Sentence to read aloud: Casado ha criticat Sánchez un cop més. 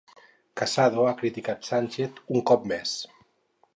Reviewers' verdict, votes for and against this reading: rejected, 2, 2